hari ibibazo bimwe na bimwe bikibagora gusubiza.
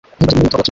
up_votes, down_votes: 1, 2